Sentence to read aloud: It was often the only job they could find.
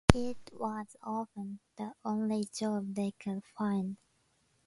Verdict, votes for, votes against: accepted, 2, 0